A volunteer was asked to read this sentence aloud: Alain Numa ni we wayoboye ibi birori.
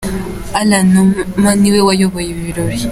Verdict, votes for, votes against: accepted, 2, 0